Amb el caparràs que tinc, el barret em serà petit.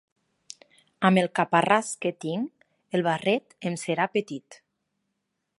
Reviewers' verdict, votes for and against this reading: accepted, 6, 0